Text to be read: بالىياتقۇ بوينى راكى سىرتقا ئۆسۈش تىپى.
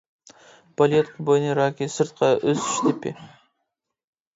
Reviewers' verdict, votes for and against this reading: rejected, 1, 2